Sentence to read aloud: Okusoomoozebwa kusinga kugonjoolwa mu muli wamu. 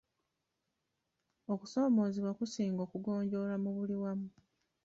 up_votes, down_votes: 1, 2